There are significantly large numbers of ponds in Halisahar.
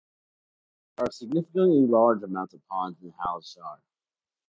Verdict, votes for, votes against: rejected, 1, 2